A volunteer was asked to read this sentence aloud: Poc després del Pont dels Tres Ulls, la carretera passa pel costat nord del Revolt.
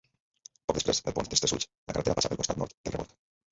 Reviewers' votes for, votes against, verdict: 0, 2, rejected